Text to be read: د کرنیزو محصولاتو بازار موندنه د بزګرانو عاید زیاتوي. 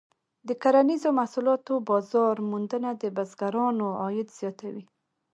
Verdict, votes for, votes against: accepted, 2, 1